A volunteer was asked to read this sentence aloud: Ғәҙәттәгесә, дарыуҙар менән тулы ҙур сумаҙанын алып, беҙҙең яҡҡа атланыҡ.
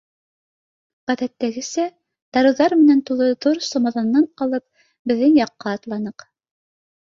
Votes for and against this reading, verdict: 2, 0, accepted